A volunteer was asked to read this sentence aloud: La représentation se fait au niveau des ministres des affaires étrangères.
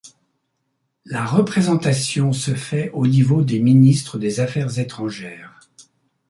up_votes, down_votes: 2, 0